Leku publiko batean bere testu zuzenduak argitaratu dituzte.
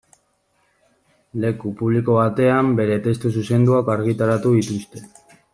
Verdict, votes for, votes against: rejected, 1, 2